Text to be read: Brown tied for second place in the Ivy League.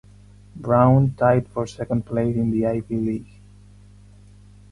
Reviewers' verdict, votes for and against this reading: rejected, 2, 4